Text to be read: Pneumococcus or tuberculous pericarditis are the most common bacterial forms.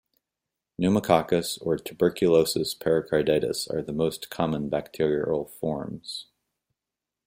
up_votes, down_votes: 0, 2